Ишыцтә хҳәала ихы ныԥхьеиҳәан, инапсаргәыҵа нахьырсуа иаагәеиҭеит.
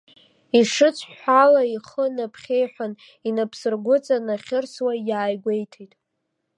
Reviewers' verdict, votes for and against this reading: rejected, 0, 2